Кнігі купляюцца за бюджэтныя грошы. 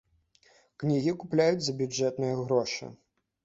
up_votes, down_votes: 1, 2